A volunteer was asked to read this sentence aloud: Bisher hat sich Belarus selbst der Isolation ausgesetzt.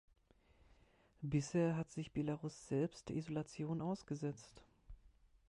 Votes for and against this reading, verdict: 2, 1, accepted